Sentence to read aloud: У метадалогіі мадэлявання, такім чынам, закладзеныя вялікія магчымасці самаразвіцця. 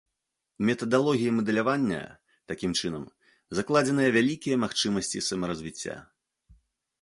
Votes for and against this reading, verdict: 2, 0, accepted